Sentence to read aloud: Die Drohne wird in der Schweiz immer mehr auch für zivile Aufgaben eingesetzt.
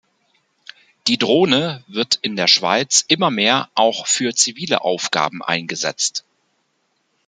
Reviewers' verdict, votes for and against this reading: accepted, 3, 0